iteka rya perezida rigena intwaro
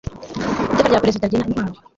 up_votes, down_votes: 2, 1